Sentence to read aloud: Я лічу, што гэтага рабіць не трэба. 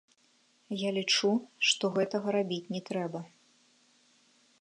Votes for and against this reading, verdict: 2, 1, accepted